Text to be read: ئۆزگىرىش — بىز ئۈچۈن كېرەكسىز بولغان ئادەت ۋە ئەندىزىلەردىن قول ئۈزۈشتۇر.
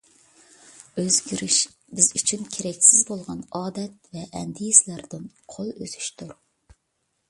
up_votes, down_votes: 2, 1